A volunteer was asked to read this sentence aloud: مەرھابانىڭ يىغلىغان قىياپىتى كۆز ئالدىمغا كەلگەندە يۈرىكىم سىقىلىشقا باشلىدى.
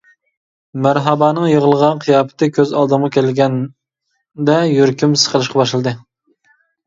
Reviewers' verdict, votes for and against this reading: accepted, 2, 1